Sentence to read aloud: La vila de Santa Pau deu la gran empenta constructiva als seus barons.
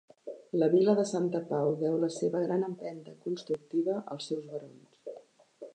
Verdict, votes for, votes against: rejected, 0, 2